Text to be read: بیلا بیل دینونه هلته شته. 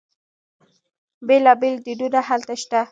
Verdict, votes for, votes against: accepted, 2, 0